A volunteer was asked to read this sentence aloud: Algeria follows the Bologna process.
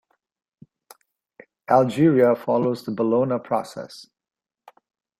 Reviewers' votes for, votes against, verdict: 2, 0, accepted